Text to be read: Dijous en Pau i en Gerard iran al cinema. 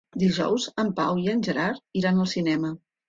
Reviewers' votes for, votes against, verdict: 3, 0, accepted